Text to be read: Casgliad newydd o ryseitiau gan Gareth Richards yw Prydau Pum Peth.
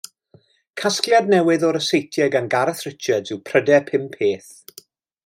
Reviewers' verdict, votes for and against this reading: rejected, 1, 2